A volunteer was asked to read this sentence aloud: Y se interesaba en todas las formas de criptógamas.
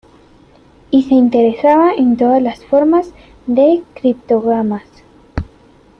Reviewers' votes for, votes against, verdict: 1, 2, rejected